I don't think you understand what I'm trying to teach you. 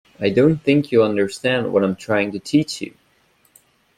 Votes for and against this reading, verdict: 2, 0, accepted